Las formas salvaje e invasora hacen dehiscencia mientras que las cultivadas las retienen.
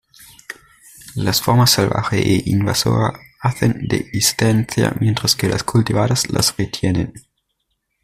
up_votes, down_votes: 1, 2